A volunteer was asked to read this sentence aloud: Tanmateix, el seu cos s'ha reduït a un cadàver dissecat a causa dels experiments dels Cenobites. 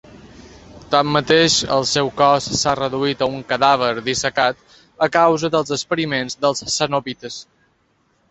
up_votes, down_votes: 2, 0